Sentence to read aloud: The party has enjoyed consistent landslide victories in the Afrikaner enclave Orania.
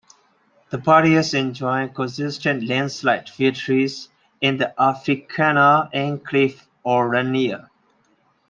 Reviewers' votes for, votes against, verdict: 0, 2, rejected